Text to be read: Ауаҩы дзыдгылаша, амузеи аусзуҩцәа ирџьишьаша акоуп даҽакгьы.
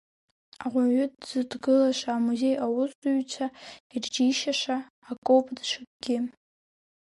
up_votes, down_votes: 3, 4